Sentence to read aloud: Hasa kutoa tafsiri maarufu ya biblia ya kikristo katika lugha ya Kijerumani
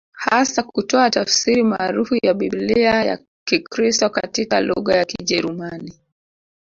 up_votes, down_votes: 0, 2